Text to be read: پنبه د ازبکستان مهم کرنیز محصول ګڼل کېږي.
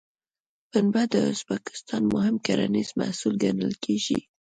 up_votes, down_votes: 2, 0